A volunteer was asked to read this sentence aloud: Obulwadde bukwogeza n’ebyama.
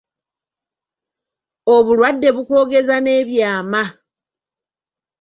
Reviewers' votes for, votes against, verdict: 3, 0, accepted